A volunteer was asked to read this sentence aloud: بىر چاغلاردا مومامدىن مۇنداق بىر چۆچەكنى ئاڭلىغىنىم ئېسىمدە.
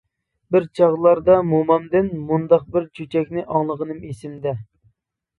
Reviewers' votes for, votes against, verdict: 2, 0, accepted